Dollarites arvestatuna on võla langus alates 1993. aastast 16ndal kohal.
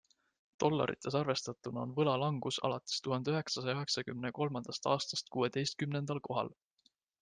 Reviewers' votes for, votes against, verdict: 0, 2, rejected